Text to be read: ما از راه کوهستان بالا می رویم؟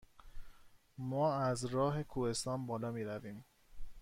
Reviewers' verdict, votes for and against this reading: accepted, 2, 0